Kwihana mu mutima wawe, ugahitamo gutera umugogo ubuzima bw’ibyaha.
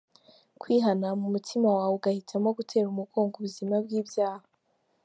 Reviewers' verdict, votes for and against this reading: accepted, 3, 0